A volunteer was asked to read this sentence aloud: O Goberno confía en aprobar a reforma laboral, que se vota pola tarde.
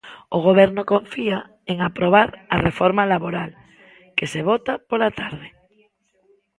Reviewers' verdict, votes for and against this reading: accepted, 2, 1